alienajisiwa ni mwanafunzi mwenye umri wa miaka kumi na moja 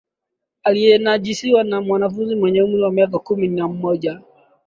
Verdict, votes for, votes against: rejected, 0, 2